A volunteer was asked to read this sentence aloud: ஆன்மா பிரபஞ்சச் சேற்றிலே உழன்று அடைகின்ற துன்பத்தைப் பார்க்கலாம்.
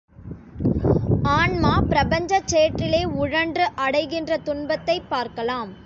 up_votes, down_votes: 2, 0